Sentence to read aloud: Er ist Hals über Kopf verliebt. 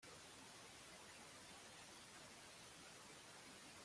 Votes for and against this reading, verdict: 0, 2, rejected